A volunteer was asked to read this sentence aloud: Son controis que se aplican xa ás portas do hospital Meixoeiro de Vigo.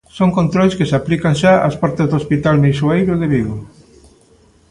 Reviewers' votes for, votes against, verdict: 2, 0, accepted